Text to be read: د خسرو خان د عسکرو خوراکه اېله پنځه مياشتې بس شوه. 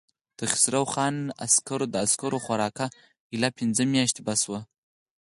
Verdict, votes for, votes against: accepted, 4, 0